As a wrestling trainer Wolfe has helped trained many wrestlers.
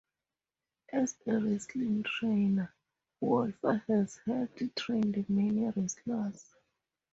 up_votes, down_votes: 2, 0